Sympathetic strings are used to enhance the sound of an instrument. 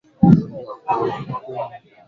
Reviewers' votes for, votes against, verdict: 0, 2, rejected